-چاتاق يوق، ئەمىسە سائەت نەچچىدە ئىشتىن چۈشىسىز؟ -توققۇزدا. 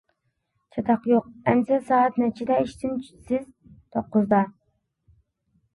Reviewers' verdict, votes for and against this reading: rejected, 1, 2